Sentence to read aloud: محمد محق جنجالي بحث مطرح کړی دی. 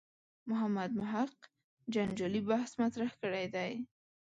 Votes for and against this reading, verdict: 3, 0, accepted